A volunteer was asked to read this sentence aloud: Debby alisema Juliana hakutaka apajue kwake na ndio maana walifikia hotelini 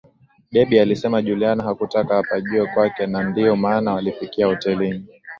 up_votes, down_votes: 2, 0